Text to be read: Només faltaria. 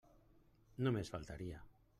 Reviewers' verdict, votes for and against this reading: rejected, 1, 2